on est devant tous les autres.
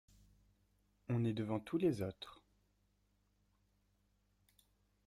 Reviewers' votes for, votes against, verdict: 1, 2, rejected